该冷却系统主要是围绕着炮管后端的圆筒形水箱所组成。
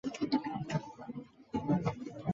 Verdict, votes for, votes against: accepted, 5, 4